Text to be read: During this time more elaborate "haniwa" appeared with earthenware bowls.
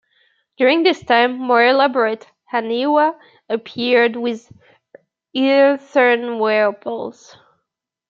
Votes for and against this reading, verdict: 1, 2, rejected